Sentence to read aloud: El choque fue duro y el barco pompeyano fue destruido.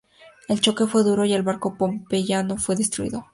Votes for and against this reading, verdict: 2, 0, accepted